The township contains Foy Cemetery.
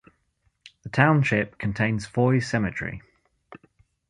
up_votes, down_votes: 0, 2